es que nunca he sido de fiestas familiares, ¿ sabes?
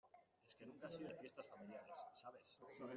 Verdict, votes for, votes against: rejected, 0, 2